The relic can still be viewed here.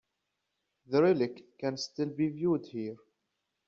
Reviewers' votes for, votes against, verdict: 2, 0, accepted